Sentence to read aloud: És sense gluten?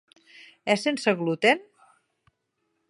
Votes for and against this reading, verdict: 3, 0, accepted